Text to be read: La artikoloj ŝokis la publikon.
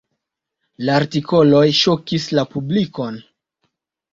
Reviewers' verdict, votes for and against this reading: accepted, 3, 0